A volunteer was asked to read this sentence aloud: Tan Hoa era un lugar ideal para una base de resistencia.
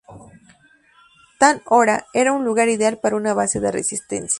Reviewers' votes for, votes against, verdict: 0, 2, rejected